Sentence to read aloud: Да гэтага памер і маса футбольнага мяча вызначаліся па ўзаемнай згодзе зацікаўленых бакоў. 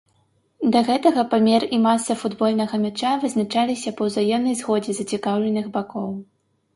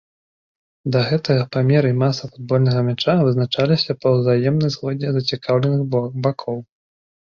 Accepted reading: first